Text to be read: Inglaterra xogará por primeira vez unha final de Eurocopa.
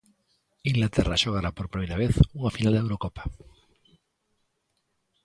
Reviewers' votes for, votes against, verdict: 2, 0, accepted